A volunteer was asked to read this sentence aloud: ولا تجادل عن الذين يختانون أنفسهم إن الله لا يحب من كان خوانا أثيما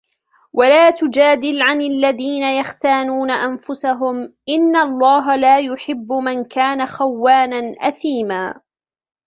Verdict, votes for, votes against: accepted, 2, 0